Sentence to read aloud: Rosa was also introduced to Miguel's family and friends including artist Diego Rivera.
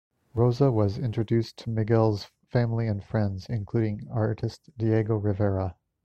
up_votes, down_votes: 0, 2